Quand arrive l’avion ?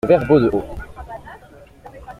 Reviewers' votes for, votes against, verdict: 0, 2, rejected